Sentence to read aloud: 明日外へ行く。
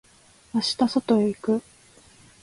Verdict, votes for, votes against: accepted, 2, 0